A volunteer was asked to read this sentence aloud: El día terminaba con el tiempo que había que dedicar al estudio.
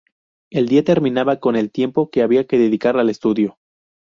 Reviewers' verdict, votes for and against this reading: accepted, 2, 0